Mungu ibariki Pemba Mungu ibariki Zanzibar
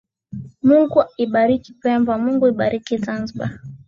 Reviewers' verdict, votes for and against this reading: accepted, 3, 0